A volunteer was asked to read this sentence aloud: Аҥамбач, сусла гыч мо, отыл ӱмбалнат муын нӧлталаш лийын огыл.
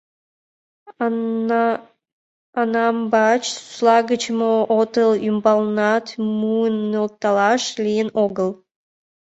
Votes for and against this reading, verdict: 1, 2, rejected